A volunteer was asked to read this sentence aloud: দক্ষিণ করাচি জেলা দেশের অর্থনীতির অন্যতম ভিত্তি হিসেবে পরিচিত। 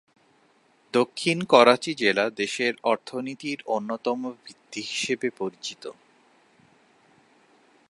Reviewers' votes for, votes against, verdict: 14, 0, accepted